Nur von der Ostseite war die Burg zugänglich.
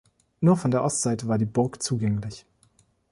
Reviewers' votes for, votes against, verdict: 2, 0, accepted